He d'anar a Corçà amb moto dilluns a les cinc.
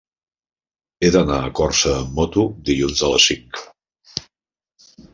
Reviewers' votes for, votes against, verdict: 0, 2, rejected